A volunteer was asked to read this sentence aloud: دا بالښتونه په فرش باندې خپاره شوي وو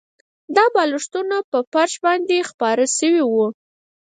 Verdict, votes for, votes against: rejected, 0, 4